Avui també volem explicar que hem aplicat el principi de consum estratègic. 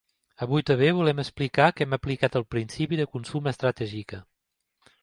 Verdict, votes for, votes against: rejected, 1, 2